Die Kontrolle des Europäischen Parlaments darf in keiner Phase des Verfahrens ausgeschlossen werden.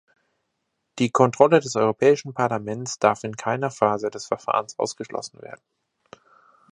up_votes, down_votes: 2, 0